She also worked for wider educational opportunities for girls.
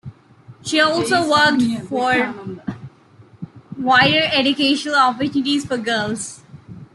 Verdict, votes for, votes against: accepted, 2, 1